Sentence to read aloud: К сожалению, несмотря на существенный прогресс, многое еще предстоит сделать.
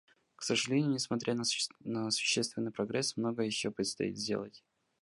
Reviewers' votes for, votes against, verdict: 0, 2, rejected